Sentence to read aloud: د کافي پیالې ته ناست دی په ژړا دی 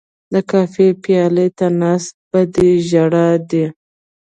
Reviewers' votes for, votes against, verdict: 1, 2, rejected